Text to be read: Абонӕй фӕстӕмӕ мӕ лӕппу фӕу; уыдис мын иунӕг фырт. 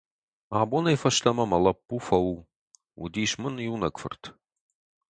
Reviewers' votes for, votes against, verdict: 4, 0, accepted